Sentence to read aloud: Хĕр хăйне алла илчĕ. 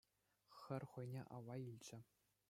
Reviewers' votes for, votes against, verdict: 2, 0, accepted